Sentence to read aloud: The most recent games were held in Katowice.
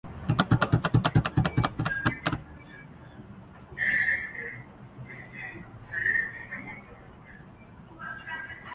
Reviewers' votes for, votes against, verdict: 0, 2, rejected